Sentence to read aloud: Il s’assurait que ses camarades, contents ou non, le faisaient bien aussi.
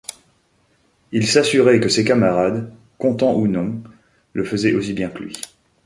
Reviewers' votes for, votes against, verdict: 1, 2, rejected